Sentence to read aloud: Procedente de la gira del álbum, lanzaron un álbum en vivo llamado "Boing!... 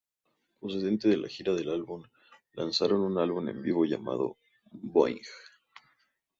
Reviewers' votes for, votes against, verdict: 2, 0, accepted